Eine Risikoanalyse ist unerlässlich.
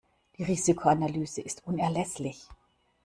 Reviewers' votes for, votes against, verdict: 0, 2, rejected